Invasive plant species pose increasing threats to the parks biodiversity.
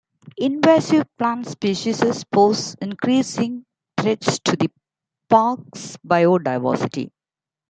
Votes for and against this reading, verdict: 1, 2, rejected